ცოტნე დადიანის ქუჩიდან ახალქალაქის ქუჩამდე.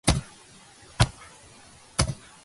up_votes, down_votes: 0, 2